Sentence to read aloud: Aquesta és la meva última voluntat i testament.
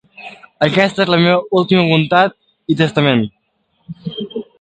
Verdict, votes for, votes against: rejected, 0, 2